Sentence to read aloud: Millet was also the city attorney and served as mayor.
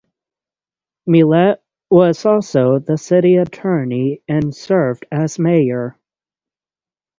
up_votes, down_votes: 3, 3